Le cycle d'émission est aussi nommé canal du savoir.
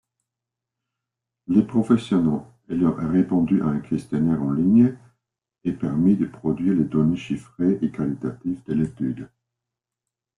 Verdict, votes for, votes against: rejected, 0, 2